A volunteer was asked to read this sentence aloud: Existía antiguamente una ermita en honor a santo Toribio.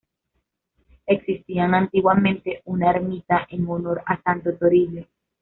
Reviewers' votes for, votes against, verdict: 1, 2, rejected